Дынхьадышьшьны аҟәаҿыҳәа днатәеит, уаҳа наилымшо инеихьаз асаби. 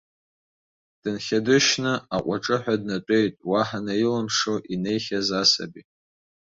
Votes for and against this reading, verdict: 2, 0, accepted